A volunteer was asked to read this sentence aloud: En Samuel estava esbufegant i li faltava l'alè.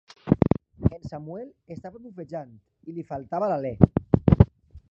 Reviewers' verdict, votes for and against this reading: rejected, 1, 2